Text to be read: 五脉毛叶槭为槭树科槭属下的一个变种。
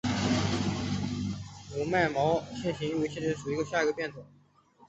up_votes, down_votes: 0, 2